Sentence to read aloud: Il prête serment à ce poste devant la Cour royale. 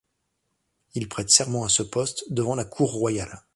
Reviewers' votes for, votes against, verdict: 2, 0, accepted